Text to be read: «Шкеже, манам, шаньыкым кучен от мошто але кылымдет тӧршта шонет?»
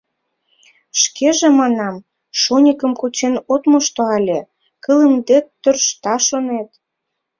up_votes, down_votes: 0, 2